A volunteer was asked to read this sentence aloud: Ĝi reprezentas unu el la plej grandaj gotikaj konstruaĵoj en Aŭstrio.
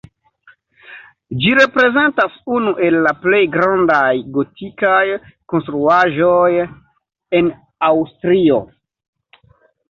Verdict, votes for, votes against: accepted, 2, 0